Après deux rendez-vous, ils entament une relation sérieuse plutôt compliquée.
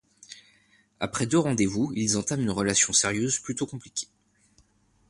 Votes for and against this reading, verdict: 2, 0, accepted